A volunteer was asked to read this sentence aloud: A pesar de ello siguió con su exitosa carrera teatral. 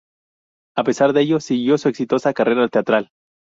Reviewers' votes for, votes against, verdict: 0, 2, rejected